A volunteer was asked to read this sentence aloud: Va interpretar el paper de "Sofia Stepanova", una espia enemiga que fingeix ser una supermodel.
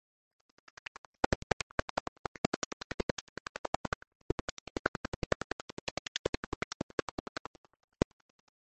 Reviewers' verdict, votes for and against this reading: rejected, 0, 3